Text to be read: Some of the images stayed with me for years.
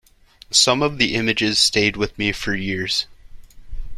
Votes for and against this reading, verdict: 2, 0, accepted